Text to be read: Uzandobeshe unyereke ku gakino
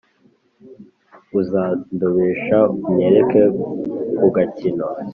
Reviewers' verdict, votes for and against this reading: rejected, 1, 2